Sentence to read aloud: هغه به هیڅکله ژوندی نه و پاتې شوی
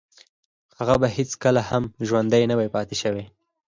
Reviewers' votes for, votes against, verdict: 4, 2, accepted